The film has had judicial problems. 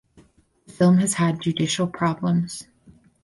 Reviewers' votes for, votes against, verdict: 2, 2, rejected